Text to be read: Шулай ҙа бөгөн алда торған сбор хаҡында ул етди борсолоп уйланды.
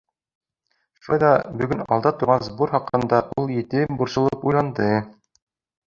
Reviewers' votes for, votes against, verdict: 2, 1, accepted